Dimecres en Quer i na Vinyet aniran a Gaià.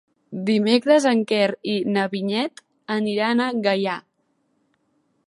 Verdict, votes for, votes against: accepted, 2, 0